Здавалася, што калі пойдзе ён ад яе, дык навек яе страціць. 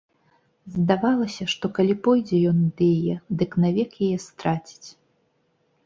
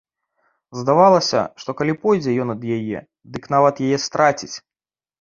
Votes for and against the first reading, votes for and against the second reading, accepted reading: 2, 0, 1, 2, first